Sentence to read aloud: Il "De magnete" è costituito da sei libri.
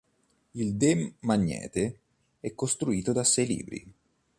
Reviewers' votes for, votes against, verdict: 1, 2, rejected